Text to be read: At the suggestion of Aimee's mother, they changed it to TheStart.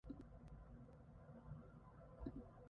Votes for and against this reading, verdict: 0, 2, rejected